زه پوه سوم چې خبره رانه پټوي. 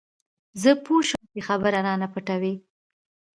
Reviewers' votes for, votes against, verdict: 2, 0, accepted